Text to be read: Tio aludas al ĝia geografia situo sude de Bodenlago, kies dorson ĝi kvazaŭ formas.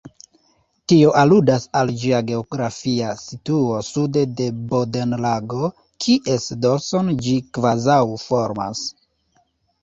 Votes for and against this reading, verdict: 2, 3, rejected